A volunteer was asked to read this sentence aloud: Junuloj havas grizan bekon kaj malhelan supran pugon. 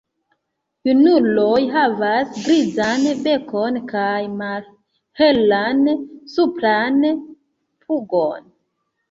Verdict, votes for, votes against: rejected, 1, 2